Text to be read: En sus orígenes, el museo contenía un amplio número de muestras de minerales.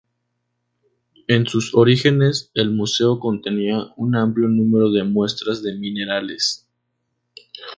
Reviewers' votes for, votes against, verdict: 2, 0, accepted